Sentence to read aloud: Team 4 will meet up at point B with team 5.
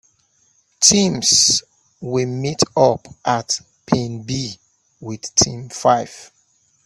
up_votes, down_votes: 0, 2